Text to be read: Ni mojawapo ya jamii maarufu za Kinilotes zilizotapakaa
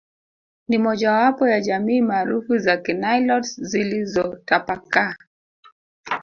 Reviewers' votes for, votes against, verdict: 1, 2, rejected